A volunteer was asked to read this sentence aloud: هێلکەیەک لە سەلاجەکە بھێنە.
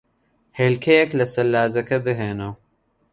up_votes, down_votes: 2, 0